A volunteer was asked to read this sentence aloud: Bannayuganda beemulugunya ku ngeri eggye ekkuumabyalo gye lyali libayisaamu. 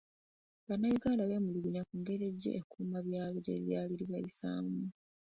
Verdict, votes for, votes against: rejected, 0, 2